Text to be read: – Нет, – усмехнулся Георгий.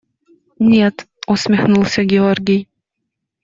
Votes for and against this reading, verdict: 2, 0, accepted